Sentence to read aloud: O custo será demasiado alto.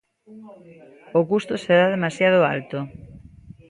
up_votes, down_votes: 1, 2